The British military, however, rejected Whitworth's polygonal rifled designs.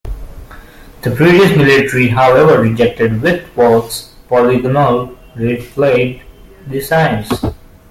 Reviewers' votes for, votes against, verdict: 0, 2, rejected